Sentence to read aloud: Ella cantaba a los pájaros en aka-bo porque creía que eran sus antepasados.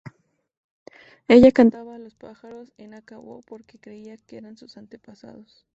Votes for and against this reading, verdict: 4, 0, accepted